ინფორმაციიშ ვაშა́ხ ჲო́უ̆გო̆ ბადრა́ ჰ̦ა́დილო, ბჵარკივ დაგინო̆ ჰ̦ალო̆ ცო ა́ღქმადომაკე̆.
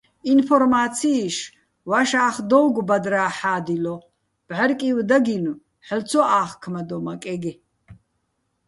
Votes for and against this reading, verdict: 0, 2, rejected